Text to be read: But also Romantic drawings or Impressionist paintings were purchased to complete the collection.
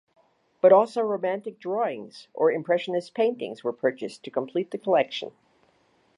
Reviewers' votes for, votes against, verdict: 2, 0, accepted